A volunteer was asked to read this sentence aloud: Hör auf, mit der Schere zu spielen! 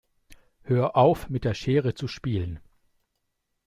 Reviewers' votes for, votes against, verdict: 2, 0, accepted